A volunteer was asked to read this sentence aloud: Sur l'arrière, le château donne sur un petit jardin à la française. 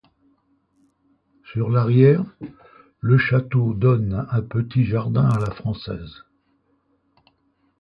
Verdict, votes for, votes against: rejected, 0, 2